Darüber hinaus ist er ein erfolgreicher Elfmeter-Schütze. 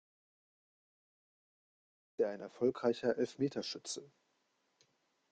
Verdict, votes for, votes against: rejected, 0, 3